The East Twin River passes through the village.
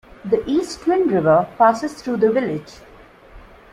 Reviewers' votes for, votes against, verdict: 2, 0, accepted